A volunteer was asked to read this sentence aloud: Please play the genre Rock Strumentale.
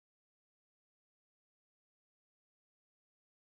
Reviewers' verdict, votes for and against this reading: rejected, 0, 3